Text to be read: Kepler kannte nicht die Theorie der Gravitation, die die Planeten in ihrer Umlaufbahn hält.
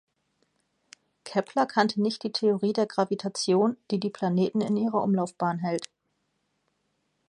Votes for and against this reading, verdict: 2, 0, accepted